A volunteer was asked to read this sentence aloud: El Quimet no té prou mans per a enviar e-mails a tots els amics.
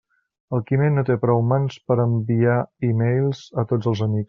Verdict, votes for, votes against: rejected, 1, 2